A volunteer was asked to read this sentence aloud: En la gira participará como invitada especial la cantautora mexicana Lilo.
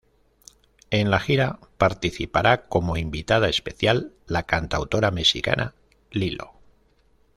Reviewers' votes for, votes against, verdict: 1, 2, rejected